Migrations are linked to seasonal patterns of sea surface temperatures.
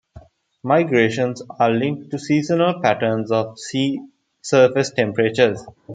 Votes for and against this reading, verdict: 2, 0, accepted